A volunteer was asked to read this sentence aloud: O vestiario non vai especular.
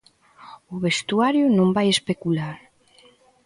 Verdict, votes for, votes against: rejected, 0, 2